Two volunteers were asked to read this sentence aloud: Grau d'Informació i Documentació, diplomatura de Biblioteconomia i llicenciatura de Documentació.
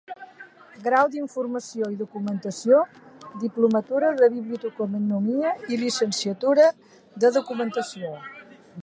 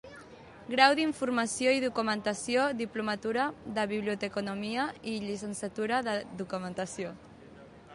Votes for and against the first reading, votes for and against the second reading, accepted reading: 0, 2, 2, 0, second